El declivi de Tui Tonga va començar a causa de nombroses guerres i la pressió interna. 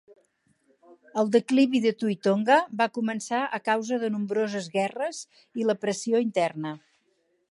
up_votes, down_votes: 6, 0